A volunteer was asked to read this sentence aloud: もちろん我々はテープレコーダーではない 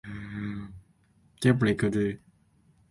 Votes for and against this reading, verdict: 0, 3, rejected